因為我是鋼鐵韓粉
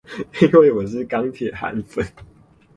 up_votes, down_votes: 2, 0